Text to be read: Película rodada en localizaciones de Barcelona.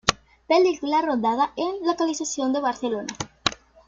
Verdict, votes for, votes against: rejected, 0, 2